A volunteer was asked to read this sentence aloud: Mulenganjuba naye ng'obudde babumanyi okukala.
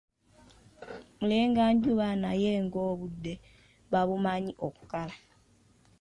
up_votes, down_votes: 2, 1